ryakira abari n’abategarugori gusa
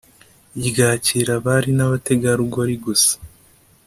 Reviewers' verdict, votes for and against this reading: accepted, 2, 0